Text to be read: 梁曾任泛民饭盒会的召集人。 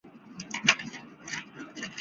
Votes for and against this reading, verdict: 0, 3, rejected